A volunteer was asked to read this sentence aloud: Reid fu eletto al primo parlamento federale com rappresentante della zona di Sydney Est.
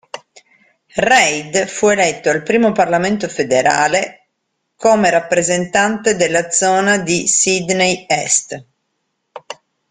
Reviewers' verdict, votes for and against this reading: accepted, 2, 1